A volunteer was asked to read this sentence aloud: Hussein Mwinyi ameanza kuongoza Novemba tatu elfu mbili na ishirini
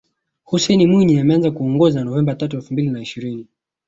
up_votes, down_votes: 2, 1